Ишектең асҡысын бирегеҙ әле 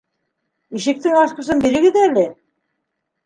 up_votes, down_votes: 2, 0